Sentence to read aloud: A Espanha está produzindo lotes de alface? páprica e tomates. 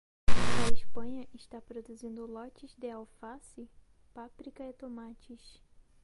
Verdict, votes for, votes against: rejected, 2, 2